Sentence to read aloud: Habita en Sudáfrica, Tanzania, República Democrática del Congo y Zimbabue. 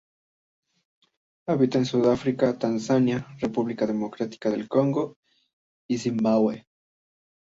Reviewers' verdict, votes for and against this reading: accepted, 2, 0